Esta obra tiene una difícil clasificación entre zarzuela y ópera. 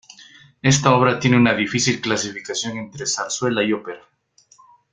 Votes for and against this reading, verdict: 1, 2, rejected